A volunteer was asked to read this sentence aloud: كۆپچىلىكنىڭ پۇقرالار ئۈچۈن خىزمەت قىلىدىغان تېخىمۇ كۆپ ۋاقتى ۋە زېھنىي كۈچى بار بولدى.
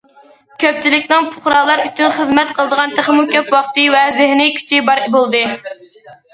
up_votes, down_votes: 2, 0